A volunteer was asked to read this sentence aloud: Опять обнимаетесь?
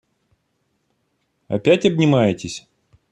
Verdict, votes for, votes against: accepted, 2, 0